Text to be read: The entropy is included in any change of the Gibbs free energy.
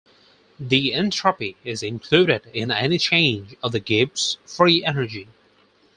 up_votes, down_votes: 4, 0